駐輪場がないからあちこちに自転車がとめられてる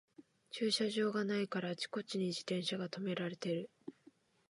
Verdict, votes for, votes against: accepted, 5, 2